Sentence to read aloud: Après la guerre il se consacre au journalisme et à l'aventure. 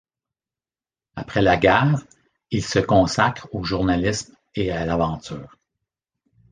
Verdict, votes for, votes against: rejected, 1, 2